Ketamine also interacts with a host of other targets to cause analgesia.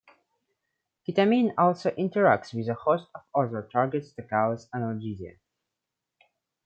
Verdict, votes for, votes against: rejected, 1, 2